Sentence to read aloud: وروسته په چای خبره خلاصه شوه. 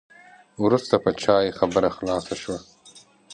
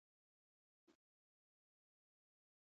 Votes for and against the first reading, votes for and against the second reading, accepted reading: 2, 0, 0, 2, first